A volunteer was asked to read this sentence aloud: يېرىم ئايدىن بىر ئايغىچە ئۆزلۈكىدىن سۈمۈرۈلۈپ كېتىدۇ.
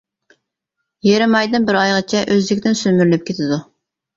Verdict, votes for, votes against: rejected, 1, 2